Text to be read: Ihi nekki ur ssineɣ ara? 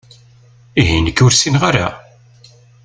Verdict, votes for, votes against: accepted, 2, 0